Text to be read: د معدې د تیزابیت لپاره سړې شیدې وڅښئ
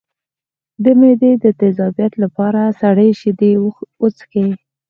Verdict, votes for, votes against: accepted, 4, 0